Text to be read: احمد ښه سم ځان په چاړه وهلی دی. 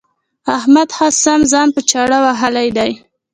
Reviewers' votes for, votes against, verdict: 1, 2, rejected